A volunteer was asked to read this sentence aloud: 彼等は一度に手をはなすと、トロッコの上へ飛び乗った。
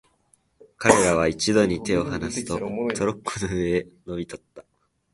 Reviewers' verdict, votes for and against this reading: rejected, 1, 2